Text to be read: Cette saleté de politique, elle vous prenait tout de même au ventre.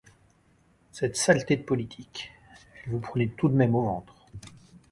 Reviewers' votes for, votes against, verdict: 1, 2, rejected